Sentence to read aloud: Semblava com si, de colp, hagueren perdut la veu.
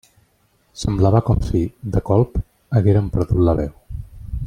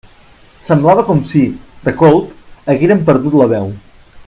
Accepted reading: first